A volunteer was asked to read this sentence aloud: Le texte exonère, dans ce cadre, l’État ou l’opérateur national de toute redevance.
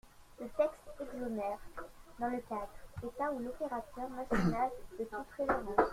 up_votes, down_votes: 1, 2